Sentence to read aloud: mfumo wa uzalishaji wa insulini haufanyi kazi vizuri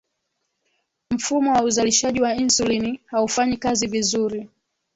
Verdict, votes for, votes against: accepted, 2, 0